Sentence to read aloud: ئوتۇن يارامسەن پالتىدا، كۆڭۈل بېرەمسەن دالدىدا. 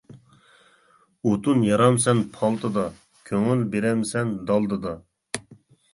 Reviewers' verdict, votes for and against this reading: accepted, 2, 0